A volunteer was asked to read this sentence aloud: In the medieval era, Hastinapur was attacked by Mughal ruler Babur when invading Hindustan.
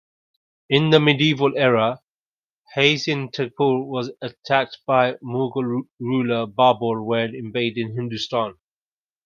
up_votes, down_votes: 2, 0